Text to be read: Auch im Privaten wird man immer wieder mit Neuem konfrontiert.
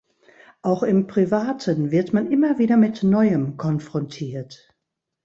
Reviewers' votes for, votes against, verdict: 2, 0, accepted